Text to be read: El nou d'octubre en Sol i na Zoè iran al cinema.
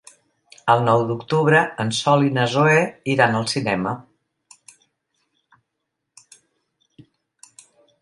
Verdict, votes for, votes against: rejected, 1, 2